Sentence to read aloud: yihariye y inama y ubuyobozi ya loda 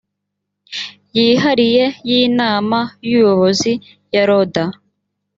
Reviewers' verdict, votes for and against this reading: accepted, 4, 0